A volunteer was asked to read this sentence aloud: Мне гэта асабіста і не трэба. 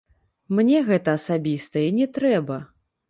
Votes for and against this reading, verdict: 0, 3, rejected